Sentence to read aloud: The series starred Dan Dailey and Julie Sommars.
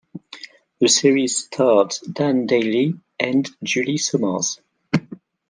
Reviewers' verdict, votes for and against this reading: accepted, 2, 0